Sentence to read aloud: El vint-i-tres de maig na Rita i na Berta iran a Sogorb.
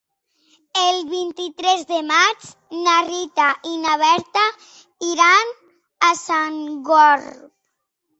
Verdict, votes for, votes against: rejected, 2, 3